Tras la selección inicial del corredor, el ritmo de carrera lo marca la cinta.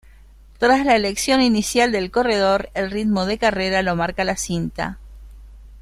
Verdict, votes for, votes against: rejected, 1, 2